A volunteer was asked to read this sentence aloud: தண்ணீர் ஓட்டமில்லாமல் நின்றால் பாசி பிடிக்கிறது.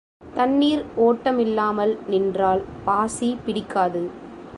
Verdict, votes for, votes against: rejected, 0, 2